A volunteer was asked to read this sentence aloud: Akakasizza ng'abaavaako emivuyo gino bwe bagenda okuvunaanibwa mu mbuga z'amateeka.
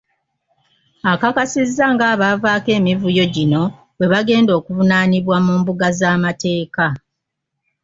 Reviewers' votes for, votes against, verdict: 2, 0, accepted